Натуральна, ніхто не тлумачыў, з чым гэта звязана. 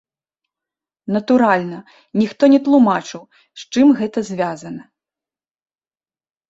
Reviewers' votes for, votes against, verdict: 1, 2, rejected